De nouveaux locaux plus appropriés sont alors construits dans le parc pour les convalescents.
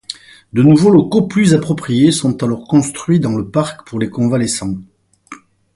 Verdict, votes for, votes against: accepted, 4, 0